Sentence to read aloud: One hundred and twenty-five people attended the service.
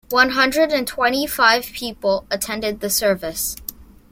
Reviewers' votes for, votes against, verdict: 2, 0, accepted